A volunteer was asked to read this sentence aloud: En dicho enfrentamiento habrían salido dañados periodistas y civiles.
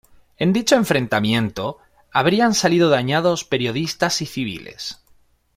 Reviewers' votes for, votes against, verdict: 2, 0, accepted